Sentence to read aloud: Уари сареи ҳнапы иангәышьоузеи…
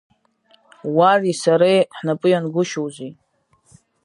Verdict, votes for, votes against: rejected, 1, 2